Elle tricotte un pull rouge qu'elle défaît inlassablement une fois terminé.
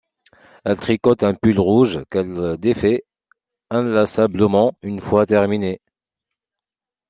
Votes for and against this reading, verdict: 2, 0, accepted